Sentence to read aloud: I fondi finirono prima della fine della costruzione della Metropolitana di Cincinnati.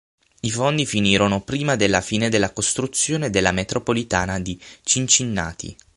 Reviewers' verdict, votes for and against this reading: rejected, 0, 6